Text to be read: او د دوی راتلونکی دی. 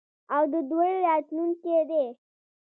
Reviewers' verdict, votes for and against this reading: accepted, 2, 1